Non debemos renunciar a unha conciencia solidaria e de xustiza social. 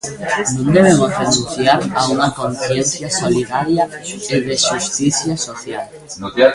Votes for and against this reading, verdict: 1, 2, rejected